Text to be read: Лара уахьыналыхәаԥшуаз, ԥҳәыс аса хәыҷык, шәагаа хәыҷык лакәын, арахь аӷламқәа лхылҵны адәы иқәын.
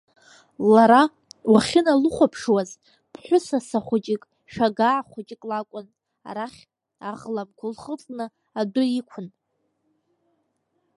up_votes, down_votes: 1, 2